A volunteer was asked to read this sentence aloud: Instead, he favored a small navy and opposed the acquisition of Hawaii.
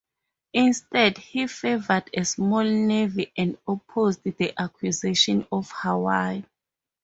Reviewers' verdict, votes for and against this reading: accepted, 4, 0